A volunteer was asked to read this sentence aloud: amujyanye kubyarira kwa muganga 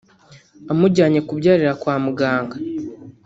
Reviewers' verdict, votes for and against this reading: rejected, 1, 2